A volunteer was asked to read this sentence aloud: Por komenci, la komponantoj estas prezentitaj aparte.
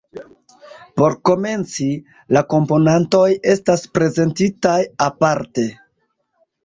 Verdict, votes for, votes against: rejected, 1, 2